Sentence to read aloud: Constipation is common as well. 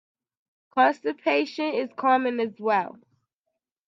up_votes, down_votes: 2, 1